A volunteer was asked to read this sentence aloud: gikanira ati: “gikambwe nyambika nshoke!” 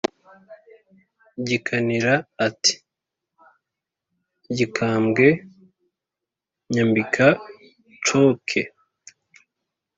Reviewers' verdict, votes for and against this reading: accepted, 2, 0